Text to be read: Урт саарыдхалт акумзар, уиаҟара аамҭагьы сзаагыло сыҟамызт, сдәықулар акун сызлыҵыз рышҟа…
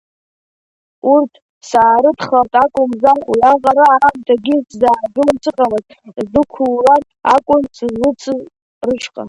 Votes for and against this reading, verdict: 0, 2, rejected